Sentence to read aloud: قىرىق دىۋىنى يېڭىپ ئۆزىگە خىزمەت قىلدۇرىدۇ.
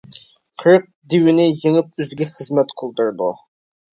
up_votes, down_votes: 0, 2